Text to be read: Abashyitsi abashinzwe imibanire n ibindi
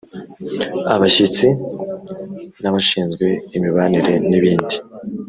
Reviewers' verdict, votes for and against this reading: accepted, 2, 0